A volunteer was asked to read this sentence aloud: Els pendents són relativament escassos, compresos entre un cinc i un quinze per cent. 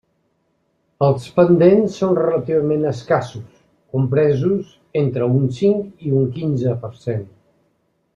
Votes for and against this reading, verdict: 2, 0, accepted